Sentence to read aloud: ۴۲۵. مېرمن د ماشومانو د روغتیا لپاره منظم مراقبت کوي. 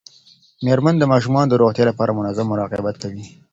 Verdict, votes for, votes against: rejected, 0, 2